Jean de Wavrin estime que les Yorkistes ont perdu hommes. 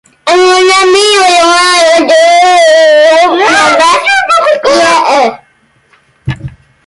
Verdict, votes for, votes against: rejected, 0, 2